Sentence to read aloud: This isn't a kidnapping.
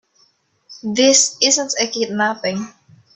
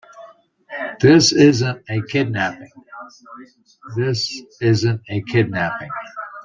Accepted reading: first